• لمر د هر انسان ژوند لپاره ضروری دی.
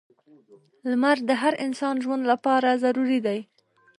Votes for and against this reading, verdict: 3, 0, accepted